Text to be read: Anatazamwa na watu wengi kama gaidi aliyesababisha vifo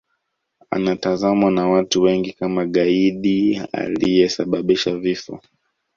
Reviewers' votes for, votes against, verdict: 2, 1, accepted